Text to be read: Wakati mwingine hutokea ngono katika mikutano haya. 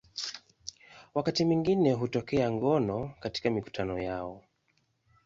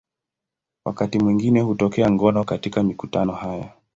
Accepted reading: second